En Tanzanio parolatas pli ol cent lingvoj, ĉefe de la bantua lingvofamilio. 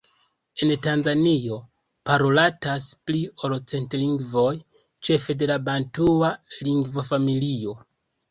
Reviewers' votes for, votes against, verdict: 2, 3, rejected